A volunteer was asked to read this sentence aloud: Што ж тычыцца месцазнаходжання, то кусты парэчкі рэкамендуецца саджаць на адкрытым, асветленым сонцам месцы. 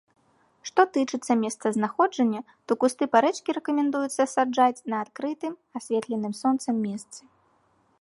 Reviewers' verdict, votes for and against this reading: accepted, 2, 1